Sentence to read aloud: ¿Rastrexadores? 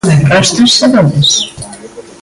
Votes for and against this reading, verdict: 0, 2, rejected